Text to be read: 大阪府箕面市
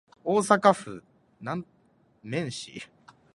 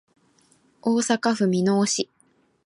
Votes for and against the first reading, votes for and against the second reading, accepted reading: 0, 2, 2, 0, second